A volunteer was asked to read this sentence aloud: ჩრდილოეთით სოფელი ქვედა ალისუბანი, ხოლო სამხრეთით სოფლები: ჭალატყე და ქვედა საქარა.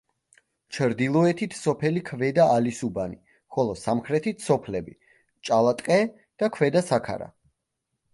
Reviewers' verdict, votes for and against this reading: accepted, 2, 0